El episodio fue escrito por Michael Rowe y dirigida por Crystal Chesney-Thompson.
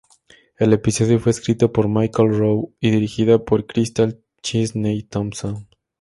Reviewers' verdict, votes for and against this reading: accepted, 2, 0